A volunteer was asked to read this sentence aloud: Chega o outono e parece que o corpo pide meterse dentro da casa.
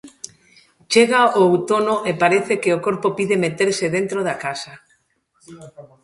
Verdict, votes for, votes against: rejected, 1, 2